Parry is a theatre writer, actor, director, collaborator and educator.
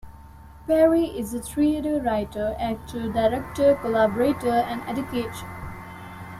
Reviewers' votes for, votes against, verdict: 1, 2, rejected